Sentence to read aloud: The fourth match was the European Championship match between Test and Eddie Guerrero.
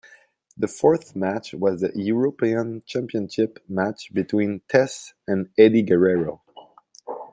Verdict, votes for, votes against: accepted, 2, 0